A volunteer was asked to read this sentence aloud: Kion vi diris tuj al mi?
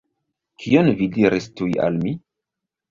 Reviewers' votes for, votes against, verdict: 1, 2, rejected